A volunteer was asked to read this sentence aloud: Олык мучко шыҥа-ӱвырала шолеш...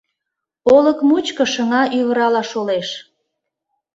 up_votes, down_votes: 2, 0